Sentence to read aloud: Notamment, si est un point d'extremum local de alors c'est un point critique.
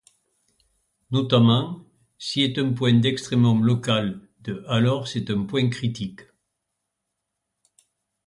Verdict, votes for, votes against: rejected, 1, 2